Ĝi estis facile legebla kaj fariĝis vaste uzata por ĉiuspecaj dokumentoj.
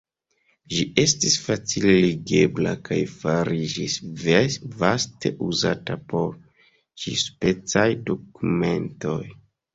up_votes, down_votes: 0, 2